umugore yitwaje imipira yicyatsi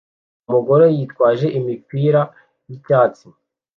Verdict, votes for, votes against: accepted, 2, 0